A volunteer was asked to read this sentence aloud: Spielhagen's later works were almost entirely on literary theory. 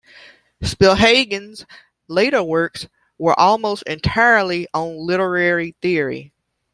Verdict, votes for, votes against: accepted, 2, 1